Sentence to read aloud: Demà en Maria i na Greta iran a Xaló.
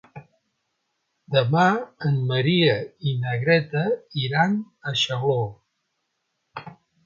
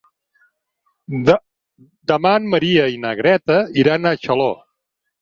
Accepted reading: first